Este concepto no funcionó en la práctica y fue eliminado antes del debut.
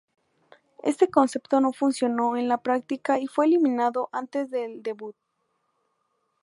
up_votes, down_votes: 2, 2